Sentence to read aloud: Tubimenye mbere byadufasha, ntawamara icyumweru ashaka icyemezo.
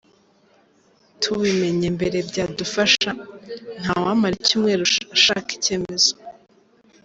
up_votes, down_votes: 0, 2